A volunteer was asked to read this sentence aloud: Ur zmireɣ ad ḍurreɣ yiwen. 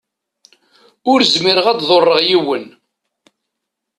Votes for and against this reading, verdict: 2, 0, accepted